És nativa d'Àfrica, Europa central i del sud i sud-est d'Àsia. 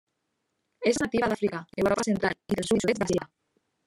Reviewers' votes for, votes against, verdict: 0, 2, rejected